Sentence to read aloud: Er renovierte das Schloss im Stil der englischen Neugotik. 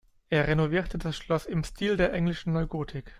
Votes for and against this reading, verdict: 2, 0, accepted